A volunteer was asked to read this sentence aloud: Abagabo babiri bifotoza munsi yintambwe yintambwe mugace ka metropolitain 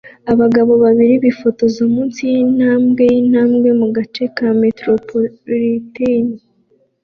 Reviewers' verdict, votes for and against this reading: accepted, 2, 0